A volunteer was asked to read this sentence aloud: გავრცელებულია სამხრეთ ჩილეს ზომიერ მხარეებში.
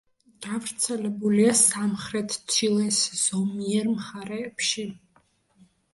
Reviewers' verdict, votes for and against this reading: accepted, 2, 0